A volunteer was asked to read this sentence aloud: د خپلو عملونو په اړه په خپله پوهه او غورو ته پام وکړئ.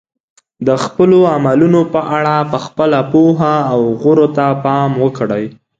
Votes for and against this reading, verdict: 2, 0, accepted